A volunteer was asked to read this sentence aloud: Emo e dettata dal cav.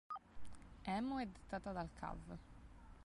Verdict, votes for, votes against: rejected, 1, 2